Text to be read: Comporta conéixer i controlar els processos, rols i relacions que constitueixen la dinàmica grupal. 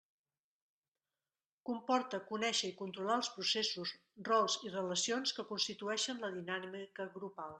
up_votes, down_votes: 1, 2